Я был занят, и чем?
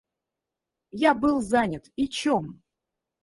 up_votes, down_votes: 0, 4